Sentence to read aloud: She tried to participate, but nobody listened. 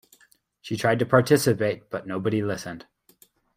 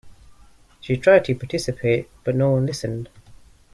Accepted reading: first